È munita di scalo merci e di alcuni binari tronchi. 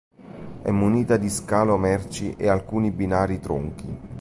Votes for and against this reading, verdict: 2, 1, accepted